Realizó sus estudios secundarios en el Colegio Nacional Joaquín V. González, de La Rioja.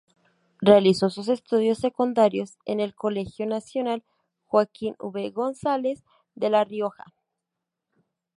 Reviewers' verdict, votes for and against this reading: accepted, 2, 0